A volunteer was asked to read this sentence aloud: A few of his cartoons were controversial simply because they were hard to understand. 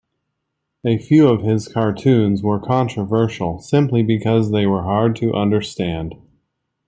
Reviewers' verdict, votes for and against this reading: rejected, 1, 2